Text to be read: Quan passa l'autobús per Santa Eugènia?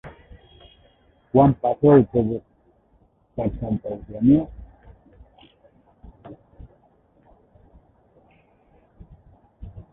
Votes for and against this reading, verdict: 0, 2, rejected